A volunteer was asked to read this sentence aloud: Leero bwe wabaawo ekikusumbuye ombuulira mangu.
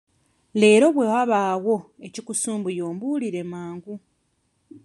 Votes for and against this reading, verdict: 0, 2, rejected